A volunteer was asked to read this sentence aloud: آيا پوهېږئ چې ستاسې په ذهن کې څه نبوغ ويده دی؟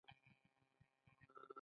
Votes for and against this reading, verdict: 0, 2, rejected